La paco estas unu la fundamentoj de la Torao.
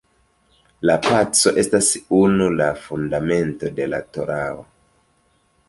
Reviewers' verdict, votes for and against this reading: rejected, 0, 2